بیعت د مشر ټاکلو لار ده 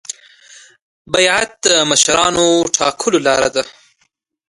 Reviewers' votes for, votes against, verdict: 2, 0, accepted